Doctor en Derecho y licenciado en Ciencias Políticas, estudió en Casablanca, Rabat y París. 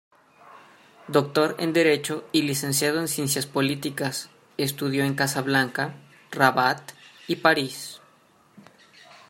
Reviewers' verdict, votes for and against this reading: accepted, 2, 0